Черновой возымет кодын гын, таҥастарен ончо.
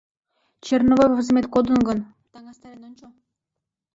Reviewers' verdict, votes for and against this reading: rejected, 1, 2